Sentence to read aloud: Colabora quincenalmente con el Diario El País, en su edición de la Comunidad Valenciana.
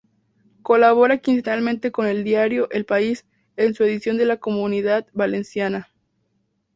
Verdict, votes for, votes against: accepted, 4, 0